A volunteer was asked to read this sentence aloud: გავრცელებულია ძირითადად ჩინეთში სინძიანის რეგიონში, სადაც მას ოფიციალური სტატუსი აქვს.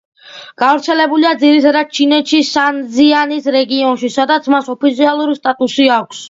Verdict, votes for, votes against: accepted, 2, 1